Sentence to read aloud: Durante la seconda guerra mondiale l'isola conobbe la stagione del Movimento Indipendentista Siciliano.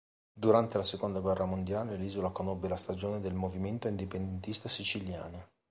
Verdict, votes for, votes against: rejected, 1, 2